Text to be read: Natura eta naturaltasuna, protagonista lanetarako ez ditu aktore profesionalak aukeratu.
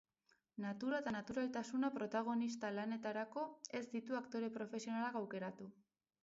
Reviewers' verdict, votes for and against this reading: accepted, 2, 0